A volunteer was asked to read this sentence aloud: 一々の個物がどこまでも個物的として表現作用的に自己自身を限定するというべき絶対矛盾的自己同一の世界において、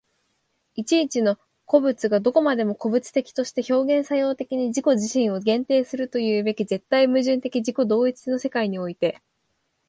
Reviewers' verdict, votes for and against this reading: accepted, 2, 0